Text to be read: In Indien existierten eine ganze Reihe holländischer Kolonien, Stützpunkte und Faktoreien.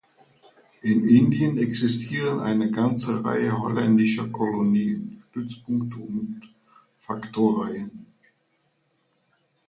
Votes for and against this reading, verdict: 0, 2, rejected